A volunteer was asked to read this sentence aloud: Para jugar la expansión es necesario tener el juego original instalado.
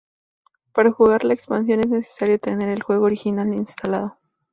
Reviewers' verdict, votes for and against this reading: accepted, 2, 0